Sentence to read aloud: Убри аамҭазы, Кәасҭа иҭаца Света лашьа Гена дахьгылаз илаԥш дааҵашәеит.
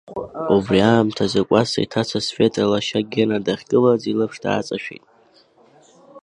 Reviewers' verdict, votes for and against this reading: accepted, 2, 0